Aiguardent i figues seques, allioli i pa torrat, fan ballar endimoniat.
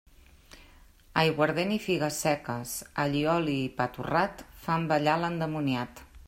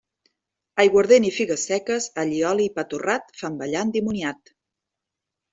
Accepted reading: second